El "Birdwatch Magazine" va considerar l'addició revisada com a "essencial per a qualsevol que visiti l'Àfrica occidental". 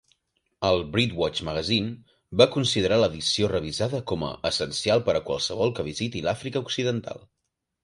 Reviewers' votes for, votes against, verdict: 2, 1, accepted